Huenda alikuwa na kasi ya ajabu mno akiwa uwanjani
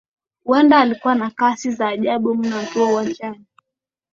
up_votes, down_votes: 7, 1